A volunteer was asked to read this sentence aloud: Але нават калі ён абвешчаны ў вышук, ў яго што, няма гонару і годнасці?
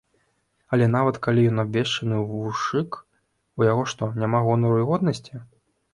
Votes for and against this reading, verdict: 0, 2, rejected